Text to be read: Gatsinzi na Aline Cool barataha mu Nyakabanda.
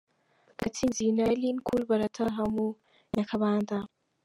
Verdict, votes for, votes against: accepted, 2, 0